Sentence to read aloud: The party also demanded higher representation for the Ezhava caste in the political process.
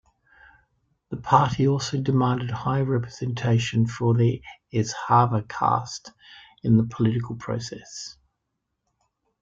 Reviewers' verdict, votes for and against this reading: accepted, 2, 0